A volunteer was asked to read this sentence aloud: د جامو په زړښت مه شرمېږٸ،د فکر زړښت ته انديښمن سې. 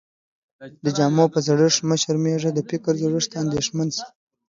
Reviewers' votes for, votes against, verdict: 1, 2, rejected